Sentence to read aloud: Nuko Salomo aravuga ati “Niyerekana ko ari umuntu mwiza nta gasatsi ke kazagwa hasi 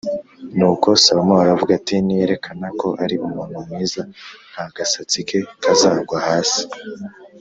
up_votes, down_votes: 2, 0